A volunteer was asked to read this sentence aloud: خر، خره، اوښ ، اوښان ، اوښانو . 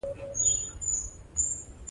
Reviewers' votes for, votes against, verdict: 1, 2, rejected